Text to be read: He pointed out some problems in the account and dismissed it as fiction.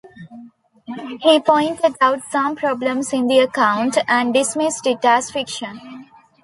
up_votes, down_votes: 2, 0